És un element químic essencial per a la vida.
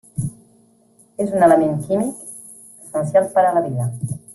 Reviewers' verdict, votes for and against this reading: rejected, 0, 2